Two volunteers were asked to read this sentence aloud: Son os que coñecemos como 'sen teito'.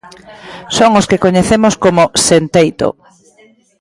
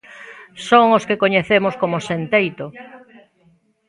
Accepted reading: first